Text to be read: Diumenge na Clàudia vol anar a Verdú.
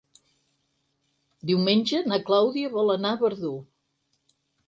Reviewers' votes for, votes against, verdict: 8, 0, accepted